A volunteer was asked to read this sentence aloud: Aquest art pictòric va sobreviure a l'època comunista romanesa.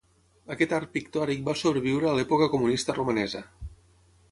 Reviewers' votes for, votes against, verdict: 6, 0, accepted